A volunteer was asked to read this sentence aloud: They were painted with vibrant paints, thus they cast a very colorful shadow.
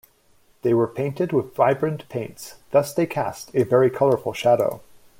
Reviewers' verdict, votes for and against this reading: accepted, 2, 0